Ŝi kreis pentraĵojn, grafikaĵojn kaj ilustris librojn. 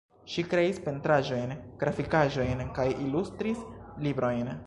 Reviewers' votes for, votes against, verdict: 1, 2, rejected